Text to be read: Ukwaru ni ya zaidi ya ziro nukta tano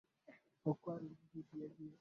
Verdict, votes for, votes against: rejected, 0, 14